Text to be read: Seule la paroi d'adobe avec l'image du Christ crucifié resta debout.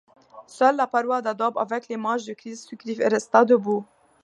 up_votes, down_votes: 2, 0